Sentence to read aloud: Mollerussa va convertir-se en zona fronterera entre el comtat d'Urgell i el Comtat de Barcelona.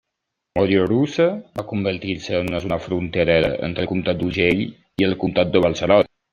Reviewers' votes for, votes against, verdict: 1, 2, rejected